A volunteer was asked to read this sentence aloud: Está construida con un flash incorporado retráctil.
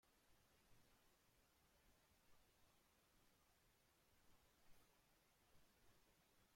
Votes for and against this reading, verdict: 0, 2, rejected